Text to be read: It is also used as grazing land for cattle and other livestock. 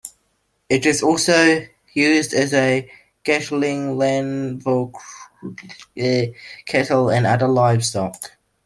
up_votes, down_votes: 0, 2